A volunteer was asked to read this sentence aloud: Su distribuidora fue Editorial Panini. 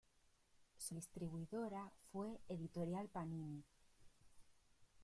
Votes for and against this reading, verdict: 2, 1, accepted